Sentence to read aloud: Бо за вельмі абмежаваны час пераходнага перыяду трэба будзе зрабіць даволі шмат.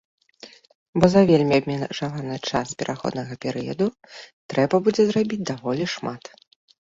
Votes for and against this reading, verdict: 0, 2, rejected